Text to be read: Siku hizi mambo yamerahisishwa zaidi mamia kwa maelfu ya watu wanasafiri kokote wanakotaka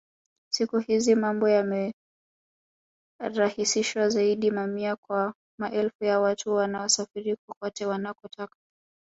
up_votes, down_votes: 3, 5